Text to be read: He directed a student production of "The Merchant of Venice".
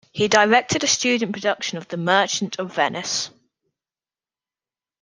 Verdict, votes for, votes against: accepted, 2, 1